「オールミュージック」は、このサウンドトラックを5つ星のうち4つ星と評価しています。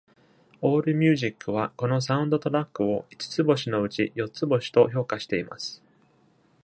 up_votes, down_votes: 0, 2